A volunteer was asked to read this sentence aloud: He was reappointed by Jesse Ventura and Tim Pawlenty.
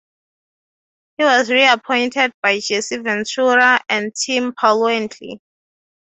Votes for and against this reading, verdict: 6, 0, accepted